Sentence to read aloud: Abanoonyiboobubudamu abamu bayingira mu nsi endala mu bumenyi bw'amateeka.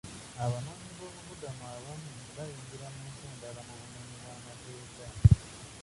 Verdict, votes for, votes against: rejected, 0, 2